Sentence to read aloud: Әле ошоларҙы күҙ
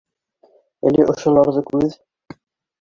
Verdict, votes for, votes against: rejected, 0, 2